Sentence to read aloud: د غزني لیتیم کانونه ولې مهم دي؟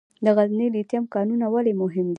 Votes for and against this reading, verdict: 2, 0, accepted